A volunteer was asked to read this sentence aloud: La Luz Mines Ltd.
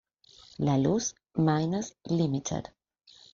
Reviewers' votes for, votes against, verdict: 2, 0, accepted